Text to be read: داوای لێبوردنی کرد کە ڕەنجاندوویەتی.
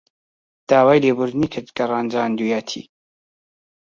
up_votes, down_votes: 2, 0